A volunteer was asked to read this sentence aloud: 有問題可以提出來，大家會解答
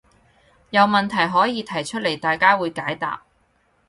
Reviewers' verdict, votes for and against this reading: rejected, 2, 2